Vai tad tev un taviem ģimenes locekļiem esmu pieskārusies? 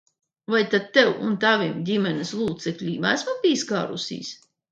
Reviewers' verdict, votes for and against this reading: rejected, 1, 2